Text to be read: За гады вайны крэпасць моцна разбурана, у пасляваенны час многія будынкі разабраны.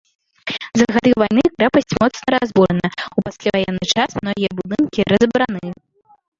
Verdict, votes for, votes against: rejected, 0, 2